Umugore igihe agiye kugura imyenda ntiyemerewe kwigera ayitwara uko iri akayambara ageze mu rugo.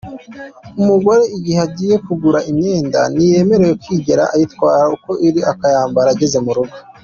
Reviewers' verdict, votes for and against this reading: accepted, 2, 0